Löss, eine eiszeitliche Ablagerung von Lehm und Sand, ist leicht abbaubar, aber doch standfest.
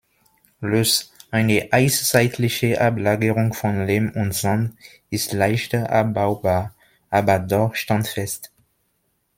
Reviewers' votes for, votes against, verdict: 0, 2, rejected